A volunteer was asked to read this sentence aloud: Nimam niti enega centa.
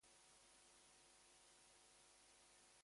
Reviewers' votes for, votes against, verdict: 0, 2, rejected